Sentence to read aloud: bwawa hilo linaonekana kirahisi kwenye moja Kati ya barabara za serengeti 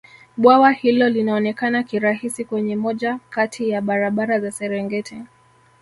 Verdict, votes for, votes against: accepted, 2, 1